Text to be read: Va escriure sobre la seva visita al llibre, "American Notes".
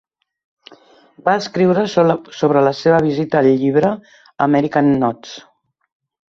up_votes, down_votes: 0, 2